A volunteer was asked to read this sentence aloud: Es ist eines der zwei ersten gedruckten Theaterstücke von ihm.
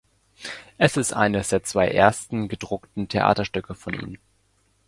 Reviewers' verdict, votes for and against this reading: accepted, 2, 0